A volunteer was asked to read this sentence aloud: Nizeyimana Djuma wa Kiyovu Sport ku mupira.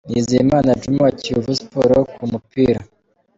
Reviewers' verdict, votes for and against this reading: accepted, 2, 0